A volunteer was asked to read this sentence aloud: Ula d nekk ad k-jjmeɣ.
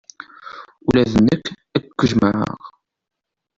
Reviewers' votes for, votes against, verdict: 2, 0, accepted